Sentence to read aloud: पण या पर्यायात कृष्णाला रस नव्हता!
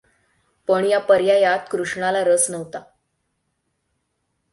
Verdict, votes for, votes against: accepted, 6, 0